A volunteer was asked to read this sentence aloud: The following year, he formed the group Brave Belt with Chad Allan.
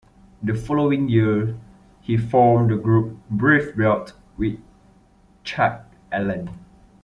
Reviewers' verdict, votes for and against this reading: rejected, 0, 2